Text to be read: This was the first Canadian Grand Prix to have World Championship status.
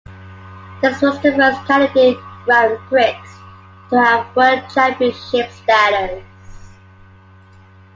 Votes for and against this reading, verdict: 1, 2, rejected